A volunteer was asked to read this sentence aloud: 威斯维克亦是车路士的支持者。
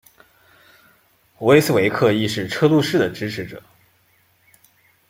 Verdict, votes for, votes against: accepted, 2, 0